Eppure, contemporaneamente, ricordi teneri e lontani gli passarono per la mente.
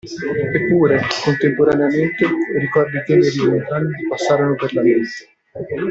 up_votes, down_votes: 0, 2